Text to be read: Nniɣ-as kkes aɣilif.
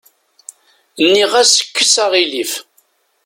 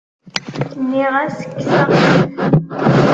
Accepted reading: first